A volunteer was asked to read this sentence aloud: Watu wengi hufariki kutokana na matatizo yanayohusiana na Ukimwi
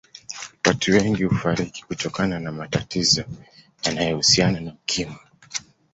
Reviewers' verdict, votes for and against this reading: accepted, 2, 0